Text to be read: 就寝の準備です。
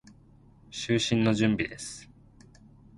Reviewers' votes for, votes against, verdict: 0, 2, rejected